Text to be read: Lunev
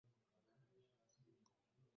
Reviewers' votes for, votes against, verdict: 0, 2, rejected